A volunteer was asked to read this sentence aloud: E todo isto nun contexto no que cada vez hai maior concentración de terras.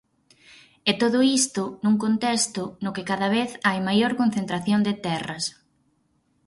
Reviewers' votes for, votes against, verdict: 4, 0, accepted